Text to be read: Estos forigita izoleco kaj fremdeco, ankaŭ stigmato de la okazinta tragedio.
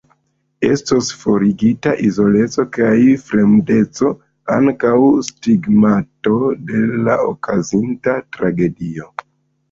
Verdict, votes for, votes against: rejected, 0, 2